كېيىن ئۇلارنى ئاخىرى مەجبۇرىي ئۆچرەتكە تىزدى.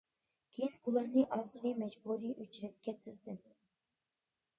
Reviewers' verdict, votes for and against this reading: accepted, 2, 1